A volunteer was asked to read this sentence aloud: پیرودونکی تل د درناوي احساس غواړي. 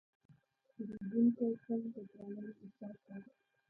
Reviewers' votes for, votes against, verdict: 1, 2, rejected